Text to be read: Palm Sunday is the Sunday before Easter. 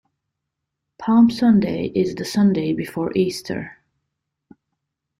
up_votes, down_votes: 2, 0